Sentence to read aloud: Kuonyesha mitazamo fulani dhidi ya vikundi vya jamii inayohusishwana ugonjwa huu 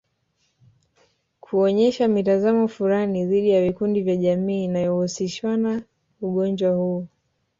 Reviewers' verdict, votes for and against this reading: rejected, 0, 2